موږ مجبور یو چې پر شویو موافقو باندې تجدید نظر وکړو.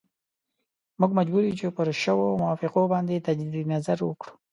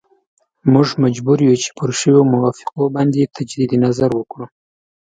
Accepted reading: second